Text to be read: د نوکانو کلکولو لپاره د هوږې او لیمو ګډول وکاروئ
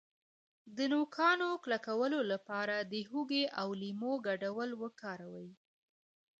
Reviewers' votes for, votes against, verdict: 2, 3, rejected